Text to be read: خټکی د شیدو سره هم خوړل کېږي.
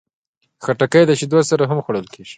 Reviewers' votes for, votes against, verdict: 1, 2, rejected